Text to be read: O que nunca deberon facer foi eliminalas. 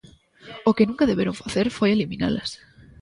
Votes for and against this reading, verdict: 2, 0, accepted